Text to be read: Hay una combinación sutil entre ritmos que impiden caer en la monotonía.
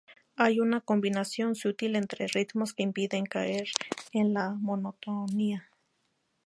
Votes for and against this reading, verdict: 4, 2, accepted